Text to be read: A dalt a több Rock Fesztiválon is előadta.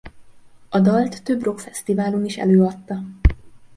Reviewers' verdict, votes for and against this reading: rejected, 0, 2